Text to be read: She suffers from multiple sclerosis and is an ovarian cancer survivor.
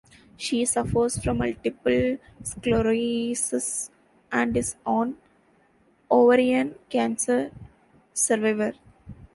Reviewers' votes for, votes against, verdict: 0, 2, rejected